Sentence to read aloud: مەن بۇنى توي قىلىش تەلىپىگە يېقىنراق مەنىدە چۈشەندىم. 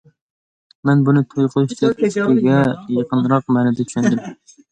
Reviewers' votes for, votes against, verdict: 0, 2, rejected